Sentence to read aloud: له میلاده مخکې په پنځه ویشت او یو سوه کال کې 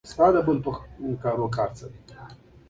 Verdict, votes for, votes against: accepted, 2, 0